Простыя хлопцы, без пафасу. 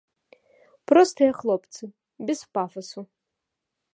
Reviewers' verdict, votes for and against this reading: accepted, 2, 0